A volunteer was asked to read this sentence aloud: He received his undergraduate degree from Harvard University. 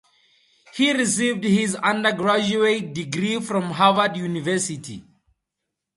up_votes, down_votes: 2, 0